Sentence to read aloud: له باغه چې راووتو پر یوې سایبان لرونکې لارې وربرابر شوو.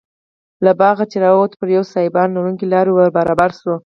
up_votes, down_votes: 4, 2